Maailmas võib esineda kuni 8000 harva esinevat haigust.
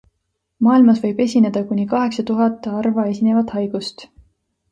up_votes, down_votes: 0, 2